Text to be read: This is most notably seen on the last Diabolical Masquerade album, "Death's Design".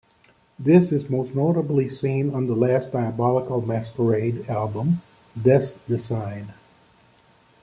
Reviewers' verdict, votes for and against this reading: rejected, 1, 2